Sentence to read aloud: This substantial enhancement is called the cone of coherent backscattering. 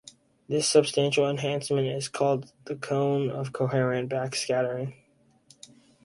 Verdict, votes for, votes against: accepted, 4, 0